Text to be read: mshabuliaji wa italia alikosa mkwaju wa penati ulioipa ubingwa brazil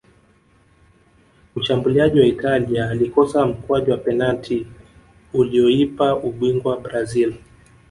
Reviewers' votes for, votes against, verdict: 1, 2, rejected